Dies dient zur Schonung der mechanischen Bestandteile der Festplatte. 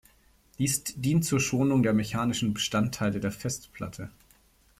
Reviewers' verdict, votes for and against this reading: rejected, 1, 2